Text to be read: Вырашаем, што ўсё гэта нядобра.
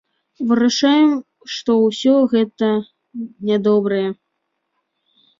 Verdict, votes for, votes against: rejected, 0, 2